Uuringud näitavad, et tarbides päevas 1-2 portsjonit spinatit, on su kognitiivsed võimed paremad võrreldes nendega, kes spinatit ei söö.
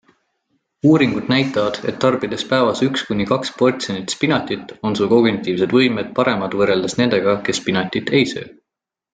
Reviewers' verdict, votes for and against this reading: rejected, 0, 2